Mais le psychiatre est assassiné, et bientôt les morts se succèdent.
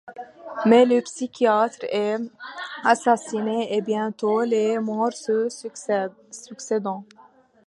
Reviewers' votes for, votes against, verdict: 0, 2, rejected